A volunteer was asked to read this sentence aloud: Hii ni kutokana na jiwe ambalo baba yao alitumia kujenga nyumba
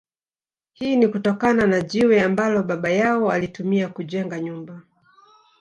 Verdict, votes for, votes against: accepted, 2, 1